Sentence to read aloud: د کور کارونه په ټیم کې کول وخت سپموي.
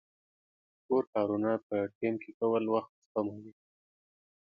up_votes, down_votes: 2, 0